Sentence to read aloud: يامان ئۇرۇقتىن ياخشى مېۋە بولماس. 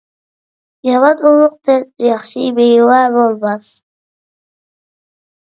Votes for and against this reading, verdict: 1, 2, rejected